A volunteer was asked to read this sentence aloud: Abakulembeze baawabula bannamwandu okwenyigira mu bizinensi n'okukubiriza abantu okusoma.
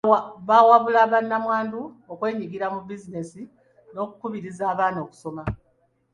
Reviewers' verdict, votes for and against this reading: rejected, 1, 2